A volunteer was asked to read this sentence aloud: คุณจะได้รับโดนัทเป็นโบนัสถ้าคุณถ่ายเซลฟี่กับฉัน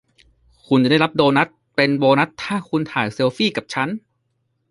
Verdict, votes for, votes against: rejected, 0, 2